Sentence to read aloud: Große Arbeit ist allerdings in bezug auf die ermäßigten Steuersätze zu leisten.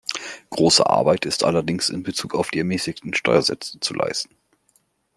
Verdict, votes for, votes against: accepted, 2, 0